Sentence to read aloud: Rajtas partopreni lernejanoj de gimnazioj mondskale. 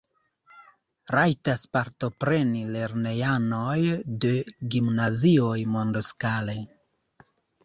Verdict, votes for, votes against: rejected, 0, 2